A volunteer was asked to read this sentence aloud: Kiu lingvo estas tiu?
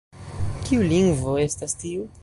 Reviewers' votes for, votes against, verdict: 2, 0, accepted